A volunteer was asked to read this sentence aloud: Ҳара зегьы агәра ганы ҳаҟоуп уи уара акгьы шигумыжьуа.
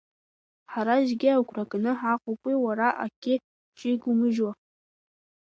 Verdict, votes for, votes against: accepted, 2, 0